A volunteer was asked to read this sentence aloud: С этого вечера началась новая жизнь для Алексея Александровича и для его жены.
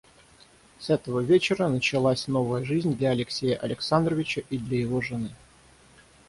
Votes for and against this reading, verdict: 3, 3, rejected